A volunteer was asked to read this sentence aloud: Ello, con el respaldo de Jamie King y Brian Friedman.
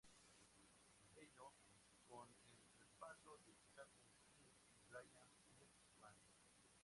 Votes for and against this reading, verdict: 0, 2, rejected